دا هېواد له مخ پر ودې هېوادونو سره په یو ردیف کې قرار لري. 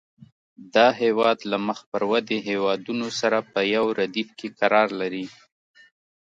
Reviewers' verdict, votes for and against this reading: accepted, 2, 0